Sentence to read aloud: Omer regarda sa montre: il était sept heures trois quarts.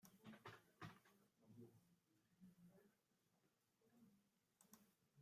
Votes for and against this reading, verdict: 0, 2, rejected